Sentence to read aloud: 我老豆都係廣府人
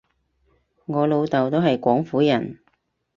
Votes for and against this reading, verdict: 4, 0, accepted